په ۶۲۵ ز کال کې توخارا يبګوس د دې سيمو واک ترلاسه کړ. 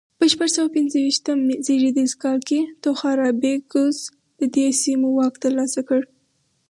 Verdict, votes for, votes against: rejected, 0, 2